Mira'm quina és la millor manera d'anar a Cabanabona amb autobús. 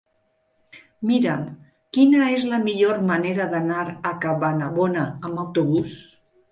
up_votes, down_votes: 2, 3